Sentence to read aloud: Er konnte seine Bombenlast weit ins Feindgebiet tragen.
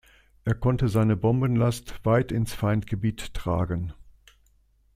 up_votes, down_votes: 2, 0